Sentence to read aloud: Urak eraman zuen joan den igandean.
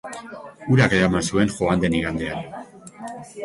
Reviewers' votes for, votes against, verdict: 3, 0, accepted